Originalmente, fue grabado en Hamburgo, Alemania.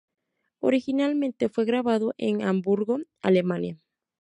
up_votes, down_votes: 2, 0